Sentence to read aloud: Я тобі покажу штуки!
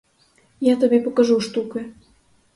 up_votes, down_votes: 2, 2